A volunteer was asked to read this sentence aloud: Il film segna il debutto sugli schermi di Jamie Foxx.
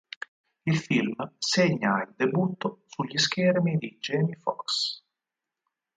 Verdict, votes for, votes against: accepted, 4, 2